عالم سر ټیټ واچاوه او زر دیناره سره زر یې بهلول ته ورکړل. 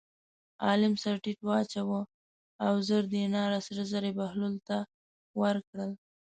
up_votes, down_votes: 2, 0